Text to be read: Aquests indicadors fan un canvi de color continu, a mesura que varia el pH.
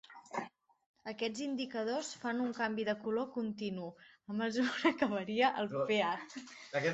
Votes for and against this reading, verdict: 0, 3, rejected